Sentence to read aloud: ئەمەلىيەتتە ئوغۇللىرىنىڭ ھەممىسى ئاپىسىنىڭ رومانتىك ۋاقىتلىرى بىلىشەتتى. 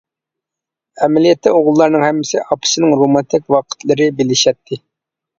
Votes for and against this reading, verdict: 0, 2, rejected